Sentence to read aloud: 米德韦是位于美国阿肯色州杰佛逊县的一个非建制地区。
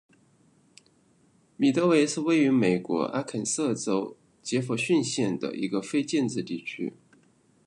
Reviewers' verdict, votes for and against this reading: accepted, 2, 0